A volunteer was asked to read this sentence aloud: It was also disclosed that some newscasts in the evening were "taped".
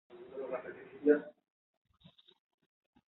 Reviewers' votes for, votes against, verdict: 0, 2, rejected